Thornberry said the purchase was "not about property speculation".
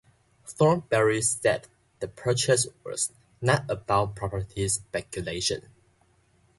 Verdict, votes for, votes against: accepted, 2, 1